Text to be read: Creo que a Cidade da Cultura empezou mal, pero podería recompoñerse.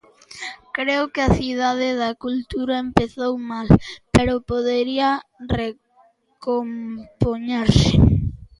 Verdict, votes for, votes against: rejected, 0, 2